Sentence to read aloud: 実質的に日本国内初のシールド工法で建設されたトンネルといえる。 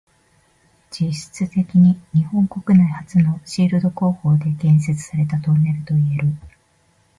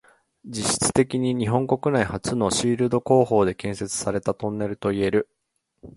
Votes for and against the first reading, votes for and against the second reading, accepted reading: 2, 0, 0, 2, first